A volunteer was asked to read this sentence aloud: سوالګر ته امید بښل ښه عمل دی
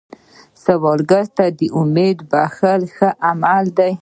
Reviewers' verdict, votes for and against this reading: accepted, 2, 0